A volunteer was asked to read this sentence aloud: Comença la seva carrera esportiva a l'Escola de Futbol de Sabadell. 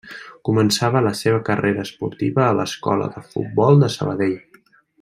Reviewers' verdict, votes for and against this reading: rejected, 1, 2